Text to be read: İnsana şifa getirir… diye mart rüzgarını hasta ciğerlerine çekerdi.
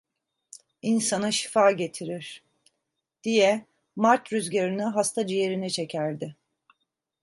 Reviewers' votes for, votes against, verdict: 1, 2, rejected